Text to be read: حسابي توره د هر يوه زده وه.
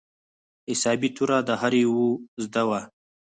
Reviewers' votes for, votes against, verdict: 2, 4, rejected